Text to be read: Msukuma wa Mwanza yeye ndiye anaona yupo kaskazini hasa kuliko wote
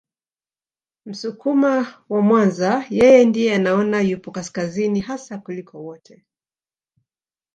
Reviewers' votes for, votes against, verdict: 4, 0, accepted